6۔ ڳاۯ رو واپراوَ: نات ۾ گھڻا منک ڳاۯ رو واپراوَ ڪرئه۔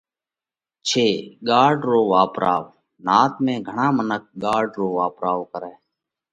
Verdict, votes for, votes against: rejected, 0, 2